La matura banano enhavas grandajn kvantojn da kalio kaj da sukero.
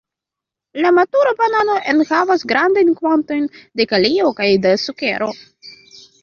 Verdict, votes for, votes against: rejected, 0, 2